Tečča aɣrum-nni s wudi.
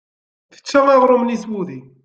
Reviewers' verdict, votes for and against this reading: accepted, 2, 0